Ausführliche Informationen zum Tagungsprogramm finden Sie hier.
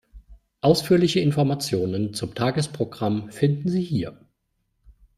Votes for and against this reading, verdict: 1, 2, rejected